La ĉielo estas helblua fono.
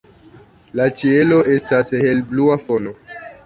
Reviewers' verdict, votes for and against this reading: accepted, 2, 0